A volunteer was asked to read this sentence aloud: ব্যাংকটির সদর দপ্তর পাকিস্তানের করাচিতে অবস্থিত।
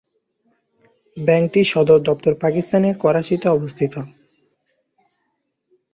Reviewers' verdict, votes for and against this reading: accepted, 2, 0